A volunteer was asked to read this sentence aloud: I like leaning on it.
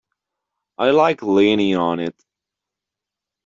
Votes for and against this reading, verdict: 2, 0, accepted